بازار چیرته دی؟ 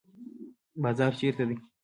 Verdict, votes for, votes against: accepted, 2, 0